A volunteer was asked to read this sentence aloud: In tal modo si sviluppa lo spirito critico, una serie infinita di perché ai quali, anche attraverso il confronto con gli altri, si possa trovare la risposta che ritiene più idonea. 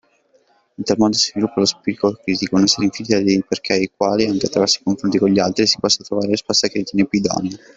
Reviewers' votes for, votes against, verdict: 1, 2, rejected